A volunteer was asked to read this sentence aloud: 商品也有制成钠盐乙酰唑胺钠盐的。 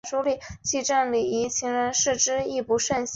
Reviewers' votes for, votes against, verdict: 3, 0, accepted